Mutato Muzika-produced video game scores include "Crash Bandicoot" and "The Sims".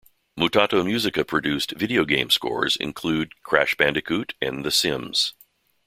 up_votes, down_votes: 2, 0